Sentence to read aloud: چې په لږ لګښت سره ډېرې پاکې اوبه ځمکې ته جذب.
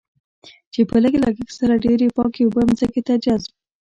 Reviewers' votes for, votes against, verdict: 1, 2, rejected